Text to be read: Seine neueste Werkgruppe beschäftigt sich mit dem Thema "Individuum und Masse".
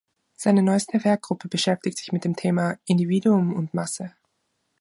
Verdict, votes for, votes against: rejected, 0, 2